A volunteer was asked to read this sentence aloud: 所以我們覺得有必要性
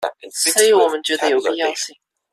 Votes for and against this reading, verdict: 0, 2, rejected